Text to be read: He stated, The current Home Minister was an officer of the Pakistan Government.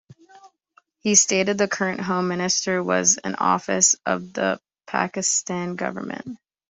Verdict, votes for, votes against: rejected, 0, 2